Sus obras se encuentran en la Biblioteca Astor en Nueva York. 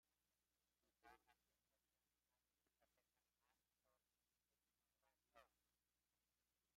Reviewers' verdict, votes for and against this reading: rejected, 0, 2